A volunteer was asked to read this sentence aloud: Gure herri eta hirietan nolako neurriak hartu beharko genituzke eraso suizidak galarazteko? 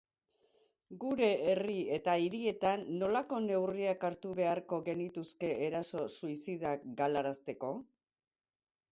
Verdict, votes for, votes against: rejected, 0, 2